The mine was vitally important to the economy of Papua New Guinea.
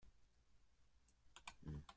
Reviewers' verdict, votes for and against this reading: rejected, 0, 4